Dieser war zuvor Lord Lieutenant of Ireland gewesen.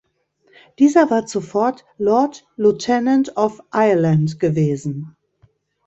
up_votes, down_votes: 0, 2